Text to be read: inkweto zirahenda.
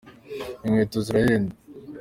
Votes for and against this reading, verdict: 0, 2, rejected